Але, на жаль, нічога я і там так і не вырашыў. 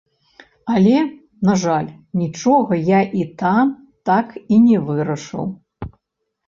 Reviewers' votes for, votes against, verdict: 2, 0, accepted